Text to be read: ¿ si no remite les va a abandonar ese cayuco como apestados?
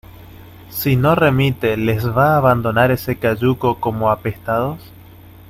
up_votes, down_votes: 2, 0